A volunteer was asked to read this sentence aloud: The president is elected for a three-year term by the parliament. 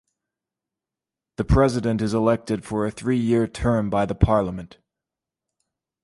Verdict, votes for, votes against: accepted, 2, 0